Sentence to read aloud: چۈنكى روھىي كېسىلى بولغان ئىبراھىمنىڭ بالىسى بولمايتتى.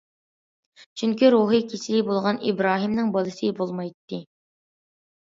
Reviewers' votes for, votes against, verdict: 2, 0, accepted